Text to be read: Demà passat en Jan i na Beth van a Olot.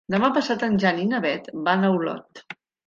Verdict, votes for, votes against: accepted, 3, 0